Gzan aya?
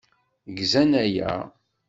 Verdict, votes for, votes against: accepted, 2, 0